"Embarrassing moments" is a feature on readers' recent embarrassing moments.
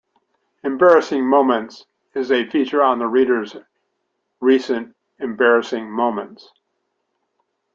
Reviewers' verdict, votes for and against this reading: rejected, 0, 2